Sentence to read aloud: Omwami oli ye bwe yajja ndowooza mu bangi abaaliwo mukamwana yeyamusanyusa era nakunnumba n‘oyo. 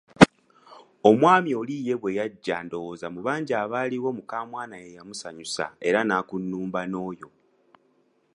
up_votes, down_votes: 2, 0